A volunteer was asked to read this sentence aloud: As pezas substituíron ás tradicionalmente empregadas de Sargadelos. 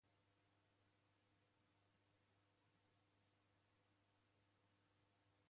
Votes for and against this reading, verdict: 0, 2, rejected